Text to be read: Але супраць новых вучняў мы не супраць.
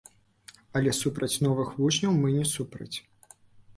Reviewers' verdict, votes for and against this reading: rejected, 0, 2